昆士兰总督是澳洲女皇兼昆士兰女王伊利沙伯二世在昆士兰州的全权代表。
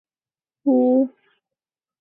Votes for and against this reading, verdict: 0, 2, rejected